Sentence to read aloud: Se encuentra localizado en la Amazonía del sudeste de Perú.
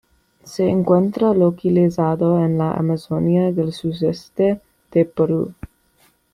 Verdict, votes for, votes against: accepted, 2, 1